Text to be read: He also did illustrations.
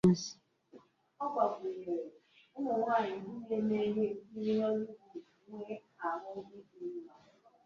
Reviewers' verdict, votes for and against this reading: rejected, 1, 2